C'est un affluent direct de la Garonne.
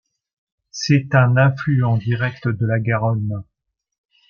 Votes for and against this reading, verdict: 2, 0, accepted